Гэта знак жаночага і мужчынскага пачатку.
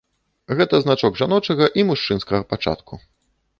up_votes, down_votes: 0, 2